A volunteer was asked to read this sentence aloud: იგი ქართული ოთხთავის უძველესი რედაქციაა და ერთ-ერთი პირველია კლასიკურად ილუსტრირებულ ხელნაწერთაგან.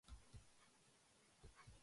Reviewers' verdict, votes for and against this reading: rejected, 0, 2